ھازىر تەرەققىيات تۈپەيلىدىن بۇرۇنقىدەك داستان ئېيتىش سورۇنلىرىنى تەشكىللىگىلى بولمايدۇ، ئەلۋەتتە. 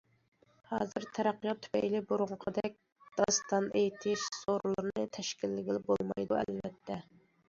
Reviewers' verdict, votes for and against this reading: rejected, 0, 2